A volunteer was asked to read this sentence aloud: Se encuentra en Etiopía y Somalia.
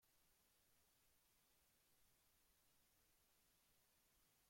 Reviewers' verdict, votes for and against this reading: rejected, 0, 2